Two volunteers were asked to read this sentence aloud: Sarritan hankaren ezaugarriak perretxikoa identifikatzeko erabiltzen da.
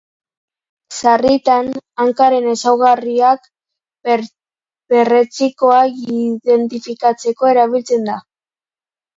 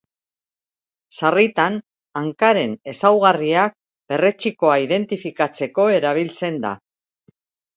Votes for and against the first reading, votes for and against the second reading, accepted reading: 0, 2, 2, 0, second